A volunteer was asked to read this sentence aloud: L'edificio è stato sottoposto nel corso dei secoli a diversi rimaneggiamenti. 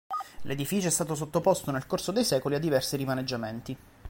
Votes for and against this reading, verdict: 2, 0, accepted